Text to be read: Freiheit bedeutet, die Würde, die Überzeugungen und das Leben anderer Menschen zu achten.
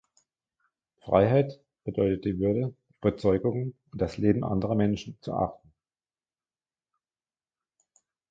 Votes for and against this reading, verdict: 1, 2, rejected